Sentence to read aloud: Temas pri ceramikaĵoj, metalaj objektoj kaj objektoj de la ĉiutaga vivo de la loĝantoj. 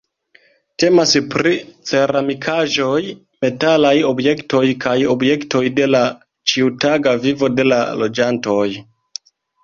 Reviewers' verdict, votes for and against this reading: rejected, 1, 2